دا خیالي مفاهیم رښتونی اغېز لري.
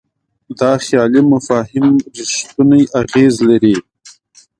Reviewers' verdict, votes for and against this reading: accepted, 2, 0